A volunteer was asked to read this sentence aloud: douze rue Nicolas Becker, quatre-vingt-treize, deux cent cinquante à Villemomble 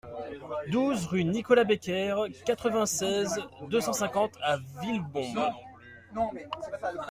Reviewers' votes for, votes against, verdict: 0, 2, rejected